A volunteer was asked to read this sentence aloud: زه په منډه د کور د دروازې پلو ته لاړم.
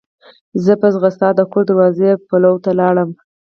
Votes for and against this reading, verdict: 0, 4, rejected